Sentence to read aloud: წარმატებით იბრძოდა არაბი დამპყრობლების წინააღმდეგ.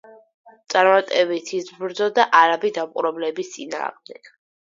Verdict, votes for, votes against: rejected, 2, 4